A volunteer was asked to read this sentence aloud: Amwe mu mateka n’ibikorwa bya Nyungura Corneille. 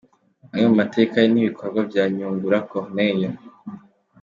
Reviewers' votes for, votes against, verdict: 2, 0, accepted